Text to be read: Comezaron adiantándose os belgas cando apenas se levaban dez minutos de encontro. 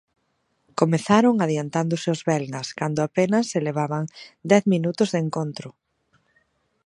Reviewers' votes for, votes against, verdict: 2, 0, accepted